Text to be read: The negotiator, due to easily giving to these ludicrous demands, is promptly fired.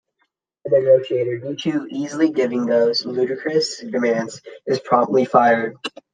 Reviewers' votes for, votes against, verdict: 1, 2, rejected